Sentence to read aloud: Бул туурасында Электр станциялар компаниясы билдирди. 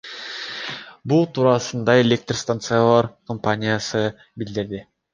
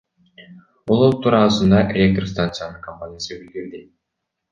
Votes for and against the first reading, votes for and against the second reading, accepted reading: 2, 0, 0, 2, first